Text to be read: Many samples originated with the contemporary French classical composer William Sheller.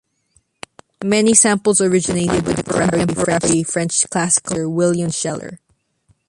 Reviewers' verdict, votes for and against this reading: rejected, 0, 2